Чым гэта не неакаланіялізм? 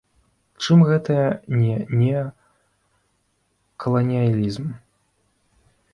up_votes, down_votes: 0, 2